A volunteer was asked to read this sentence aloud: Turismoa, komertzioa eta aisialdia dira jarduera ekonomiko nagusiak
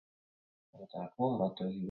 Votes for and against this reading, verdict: 0, 2, rejected